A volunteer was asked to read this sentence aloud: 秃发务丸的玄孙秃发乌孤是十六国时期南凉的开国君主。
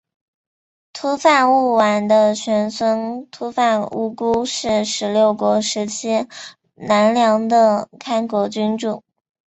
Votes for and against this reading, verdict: 4, 0, accepted